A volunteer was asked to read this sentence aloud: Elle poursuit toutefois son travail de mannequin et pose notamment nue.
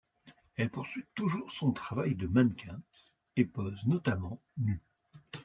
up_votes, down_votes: 0, 2